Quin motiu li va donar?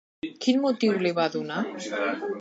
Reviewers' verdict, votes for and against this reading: rejected, 0, 3